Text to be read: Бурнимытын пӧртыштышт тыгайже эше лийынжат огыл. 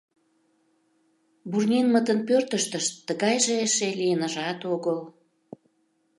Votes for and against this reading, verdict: 0, 2, rejected